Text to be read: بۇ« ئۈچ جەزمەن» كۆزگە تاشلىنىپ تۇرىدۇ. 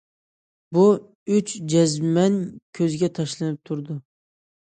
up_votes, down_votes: 2, 0